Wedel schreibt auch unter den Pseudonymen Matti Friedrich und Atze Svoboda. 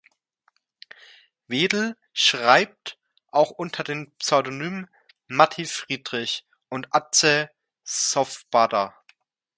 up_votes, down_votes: 0, 2